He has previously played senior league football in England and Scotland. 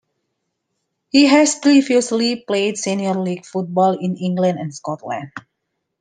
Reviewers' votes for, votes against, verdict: 2, 0, accepted